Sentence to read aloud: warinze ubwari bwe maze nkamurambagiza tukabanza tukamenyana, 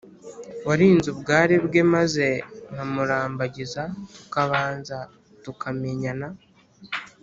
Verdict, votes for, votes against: accepted, 2, 0